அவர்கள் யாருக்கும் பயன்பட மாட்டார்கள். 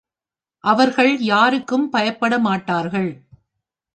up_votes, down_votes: 2, 3